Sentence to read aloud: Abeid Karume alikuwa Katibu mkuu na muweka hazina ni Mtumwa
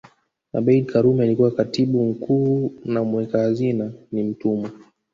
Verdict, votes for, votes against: rejected, 0, 2